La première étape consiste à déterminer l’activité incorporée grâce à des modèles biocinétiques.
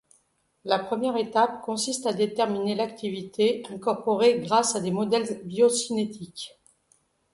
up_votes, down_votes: 0, 2